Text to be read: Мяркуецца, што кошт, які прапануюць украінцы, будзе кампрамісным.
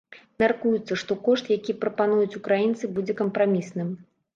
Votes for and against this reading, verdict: 3, 0, accepted